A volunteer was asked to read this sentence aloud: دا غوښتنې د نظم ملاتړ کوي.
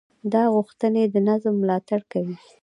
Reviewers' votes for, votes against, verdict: 1, 2, rejected